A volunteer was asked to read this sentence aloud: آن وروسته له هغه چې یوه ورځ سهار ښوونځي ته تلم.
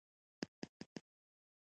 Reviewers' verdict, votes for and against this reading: rejected, 1, 2